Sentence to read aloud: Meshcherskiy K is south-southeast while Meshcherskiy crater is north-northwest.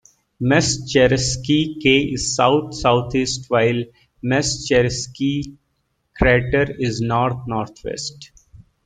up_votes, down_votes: 1, 2